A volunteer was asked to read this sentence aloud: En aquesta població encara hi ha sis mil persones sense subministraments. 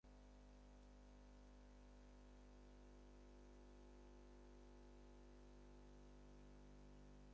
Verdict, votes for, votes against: rejected, 0, 4